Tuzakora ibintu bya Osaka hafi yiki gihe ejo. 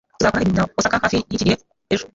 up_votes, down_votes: 1, 2